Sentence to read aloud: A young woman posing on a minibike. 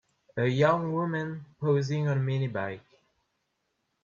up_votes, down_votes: 0, 2